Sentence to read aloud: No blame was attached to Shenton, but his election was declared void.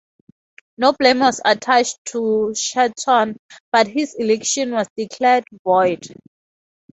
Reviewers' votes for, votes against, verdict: 2, 0, accepted